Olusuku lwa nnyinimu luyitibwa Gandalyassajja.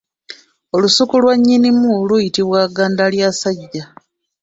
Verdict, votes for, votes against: accepted, 2, 1